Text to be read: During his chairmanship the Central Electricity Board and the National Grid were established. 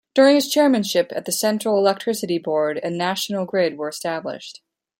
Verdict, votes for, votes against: rejected, 1, 2